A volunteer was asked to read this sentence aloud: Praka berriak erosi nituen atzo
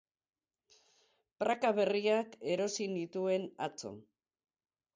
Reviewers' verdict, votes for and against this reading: rejected, 2, 2